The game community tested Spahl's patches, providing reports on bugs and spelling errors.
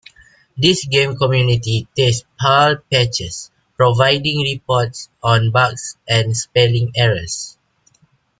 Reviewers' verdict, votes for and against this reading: rejected, 1, 2